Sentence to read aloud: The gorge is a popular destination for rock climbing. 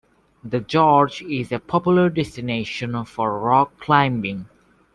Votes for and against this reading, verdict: 0, 2, rejected